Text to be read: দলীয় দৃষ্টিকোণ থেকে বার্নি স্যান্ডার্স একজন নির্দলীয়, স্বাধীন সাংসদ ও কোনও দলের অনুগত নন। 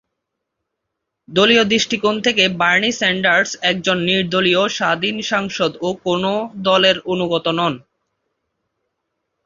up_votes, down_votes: 2, 2